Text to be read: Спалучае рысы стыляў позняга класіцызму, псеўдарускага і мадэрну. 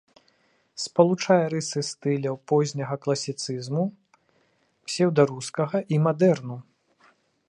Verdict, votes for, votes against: accepted, 2, 0